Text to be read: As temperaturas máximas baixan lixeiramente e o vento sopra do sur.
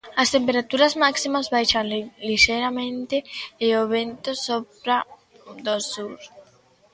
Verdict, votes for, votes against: rejected, 0, 2